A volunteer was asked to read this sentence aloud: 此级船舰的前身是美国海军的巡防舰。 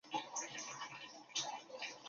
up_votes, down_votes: 1, 2